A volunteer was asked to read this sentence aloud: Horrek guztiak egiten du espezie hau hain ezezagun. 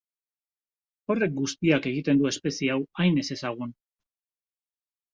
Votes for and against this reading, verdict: 2, 0, accepted